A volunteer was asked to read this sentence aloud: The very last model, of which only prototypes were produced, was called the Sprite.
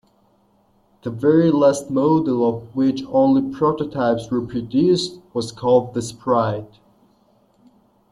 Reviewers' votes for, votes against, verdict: 2, 0, accepted